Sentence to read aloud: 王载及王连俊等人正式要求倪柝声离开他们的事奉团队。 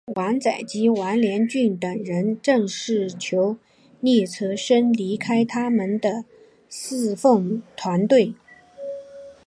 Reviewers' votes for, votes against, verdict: 0, 2, rejected